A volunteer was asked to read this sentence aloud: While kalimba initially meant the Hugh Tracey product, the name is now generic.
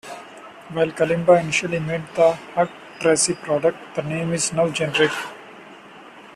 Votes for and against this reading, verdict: 2, 1, accepted